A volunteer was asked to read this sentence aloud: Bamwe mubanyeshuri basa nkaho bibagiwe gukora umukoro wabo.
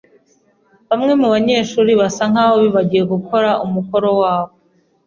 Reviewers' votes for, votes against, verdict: 2, 0, accepted